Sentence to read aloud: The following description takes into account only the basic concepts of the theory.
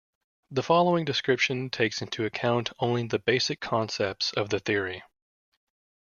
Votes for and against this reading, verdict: 2, 0, accepted